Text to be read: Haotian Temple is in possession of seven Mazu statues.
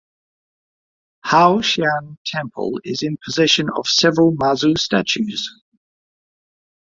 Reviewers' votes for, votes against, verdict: 1, 2, rejected